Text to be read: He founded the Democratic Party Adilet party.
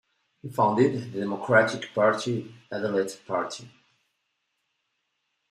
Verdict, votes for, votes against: accepted, 2, 0